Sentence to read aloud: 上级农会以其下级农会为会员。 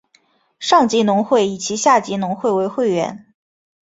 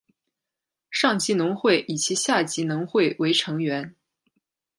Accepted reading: first